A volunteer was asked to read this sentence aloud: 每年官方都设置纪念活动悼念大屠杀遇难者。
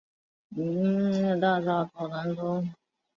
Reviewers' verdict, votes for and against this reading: rejected, 0, 2